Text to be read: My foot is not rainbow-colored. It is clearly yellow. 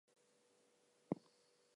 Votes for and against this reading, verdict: 0, 2, rejected